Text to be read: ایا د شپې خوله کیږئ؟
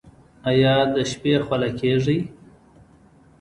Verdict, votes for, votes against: accepted, 2, 0